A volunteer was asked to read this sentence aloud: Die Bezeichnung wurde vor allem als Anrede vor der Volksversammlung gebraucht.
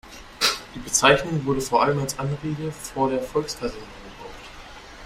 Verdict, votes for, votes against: accepted, 2, 0